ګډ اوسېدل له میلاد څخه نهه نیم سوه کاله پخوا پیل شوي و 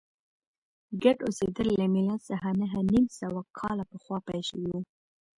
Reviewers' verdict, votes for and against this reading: rejected, 1, 2